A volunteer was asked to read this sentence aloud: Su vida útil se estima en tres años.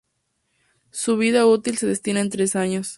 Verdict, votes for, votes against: rejected, 0, 2